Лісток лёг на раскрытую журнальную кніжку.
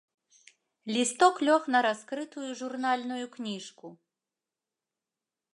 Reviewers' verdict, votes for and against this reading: accepted, 4, 0